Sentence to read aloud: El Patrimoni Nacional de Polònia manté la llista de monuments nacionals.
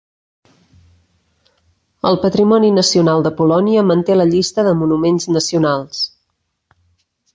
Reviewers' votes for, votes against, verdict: 3, 0, accepted